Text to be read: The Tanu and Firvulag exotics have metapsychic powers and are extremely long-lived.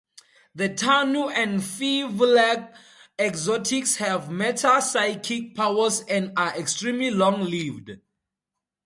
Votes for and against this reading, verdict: 2, 0, accepted